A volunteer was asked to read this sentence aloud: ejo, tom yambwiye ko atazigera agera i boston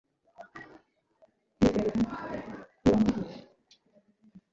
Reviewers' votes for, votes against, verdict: 0, 2, rejected